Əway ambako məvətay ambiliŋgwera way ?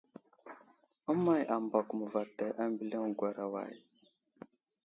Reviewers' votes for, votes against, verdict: 2, 0, accepted